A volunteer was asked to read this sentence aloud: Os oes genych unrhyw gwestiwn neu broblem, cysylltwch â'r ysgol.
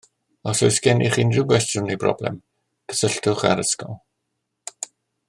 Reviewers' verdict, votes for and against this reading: accepted, 2, 0